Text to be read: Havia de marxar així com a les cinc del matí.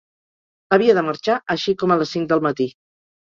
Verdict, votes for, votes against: accepted, 2, 0